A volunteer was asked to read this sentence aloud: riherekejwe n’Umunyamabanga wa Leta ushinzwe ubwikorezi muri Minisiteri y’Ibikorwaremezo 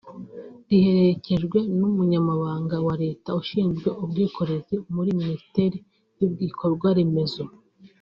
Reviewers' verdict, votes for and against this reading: accepted, 3, 0